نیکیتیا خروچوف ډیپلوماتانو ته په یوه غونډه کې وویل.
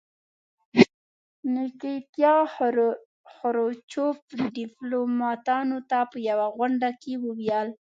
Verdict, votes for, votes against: rejected, 1, 2